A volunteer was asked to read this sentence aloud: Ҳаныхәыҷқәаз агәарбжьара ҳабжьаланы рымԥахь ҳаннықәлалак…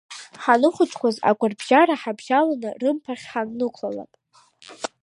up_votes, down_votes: 2, 0